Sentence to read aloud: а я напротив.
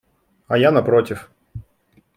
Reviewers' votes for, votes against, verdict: 3, 0, accepted